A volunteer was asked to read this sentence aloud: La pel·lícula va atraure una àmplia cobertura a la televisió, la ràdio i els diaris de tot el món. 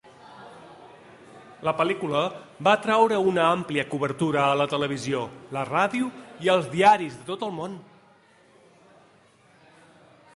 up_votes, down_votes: 2, 0